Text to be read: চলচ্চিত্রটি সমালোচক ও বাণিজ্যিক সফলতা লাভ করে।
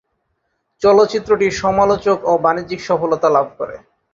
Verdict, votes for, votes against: accepted, 2, 0